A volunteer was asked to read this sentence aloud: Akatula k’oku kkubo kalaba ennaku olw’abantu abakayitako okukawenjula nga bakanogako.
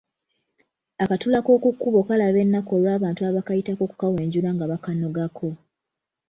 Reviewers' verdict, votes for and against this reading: accepted, 2, 1